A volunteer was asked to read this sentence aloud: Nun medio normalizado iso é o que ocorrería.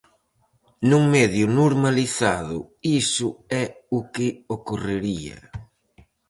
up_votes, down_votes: 4, 0